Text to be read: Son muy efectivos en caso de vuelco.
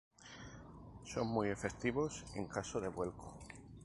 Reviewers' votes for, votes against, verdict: 2, 0, accepted